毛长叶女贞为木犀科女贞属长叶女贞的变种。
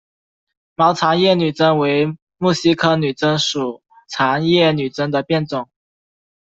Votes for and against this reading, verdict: 2, 0, accepted